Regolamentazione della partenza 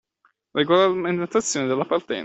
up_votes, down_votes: 0, 2